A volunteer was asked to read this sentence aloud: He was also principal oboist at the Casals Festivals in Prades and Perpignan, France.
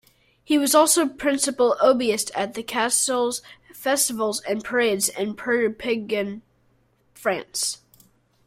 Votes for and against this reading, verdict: 1, 2, rejected